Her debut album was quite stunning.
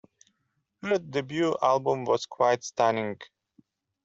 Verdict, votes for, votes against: accepted, 2, 0